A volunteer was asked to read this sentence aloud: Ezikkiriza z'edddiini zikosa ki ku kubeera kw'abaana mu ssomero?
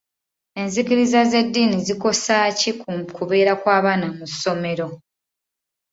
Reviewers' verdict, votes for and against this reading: accepted, 2, 1